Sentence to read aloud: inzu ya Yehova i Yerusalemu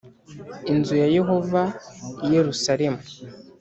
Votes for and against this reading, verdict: 3, 0, accepted